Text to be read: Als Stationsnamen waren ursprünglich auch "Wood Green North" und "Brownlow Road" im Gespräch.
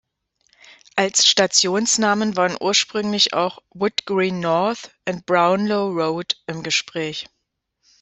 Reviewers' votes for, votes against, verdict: 1, 2, rejected